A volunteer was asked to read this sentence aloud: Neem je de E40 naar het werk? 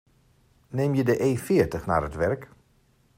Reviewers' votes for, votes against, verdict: 0, 2, rejected